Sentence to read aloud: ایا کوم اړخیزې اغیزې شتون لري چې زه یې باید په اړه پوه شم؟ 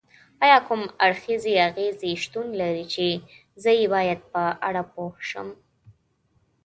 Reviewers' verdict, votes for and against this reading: accepted, 2, 0